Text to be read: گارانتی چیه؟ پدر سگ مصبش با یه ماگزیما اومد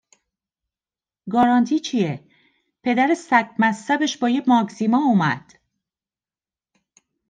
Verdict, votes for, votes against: accepted, 2, 0